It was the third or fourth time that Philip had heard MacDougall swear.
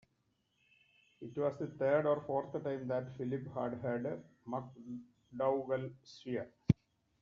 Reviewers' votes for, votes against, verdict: 0, 2, rejected